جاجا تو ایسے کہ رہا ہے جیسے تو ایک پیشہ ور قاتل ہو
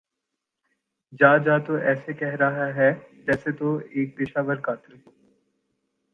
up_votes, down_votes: 0, 2